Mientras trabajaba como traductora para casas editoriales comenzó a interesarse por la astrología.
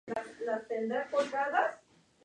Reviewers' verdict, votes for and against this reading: rejected, 0, 2